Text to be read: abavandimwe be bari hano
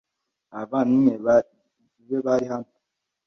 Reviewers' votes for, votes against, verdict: 1, 2, rejected